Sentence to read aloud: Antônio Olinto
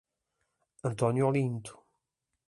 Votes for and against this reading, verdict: 2, 0, accepted